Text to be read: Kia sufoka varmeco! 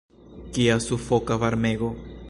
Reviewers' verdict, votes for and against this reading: rejected, 1, 2